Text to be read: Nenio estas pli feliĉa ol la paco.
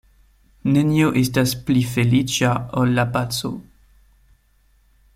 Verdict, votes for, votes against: accepted, 2, 0